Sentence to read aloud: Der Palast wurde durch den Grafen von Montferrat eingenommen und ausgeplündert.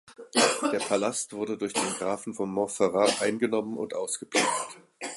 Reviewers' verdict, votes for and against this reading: rejected, 0, 2